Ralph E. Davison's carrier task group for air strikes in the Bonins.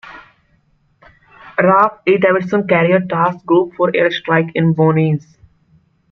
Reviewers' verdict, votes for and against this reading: rejected, 0, 2